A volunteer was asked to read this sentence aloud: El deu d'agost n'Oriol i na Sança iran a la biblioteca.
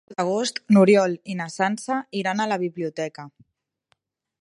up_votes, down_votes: 1, 4